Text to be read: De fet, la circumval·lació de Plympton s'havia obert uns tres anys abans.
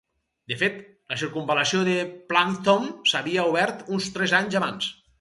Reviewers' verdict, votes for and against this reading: rejected, 2, 2